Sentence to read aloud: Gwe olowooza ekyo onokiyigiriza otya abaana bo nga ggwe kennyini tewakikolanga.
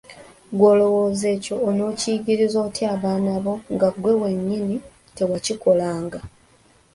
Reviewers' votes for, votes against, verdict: 1, 2, rejected